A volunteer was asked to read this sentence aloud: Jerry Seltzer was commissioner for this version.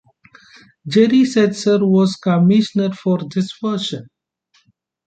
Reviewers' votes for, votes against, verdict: 2, 0, accepted